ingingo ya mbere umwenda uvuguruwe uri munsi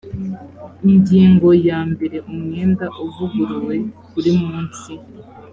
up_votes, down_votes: 3, 0